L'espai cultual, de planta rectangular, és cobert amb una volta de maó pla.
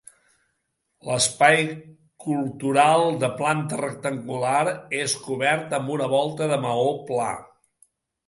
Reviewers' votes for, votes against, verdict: 0, 2, rejected